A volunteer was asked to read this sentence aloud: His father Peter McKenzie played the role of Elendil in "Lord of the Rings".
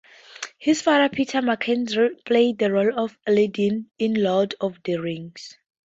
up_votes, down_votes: 0, 2